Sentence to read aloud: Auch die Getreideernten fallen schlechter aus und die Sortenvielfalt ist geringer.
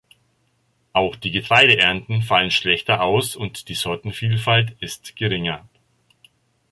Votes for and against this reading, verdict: 1, 2, rejected